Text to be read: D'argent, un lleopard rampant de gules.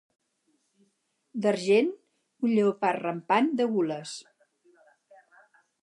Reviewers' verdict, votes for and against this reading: accepted, 4, 0